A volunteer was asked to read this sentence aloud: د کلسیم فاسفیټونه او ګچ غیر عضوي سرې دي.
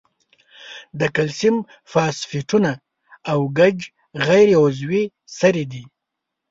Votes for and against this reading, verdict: 2, 0, accepted